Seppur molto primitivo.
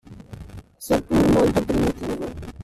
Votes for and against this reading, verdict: 0, 2, rejected